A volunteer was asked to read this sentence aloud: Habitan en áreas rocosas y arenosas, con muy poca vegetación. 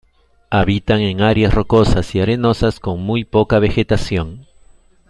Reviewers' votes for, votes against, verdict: 2, 0, accepted